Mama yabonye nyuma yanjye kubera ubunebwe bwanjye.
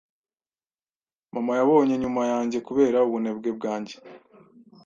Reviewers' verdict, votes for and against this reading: accepted, 2, 0